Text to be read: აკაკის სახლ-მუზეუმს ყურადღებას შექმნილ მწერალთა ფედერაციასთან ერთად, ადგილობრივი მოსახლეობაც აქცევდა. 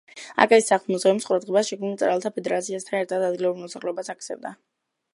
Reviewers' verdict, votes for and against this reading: accepted, 2, 0